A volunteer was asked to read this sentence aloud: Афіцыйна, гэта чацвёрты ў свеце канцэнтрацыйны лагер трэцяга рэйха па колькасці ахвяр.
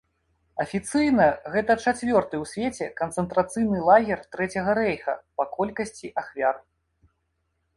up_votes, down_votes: 2, 0